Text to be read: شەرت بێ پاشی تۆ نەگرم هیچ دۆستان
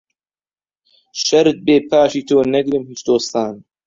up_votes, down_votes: 2, 1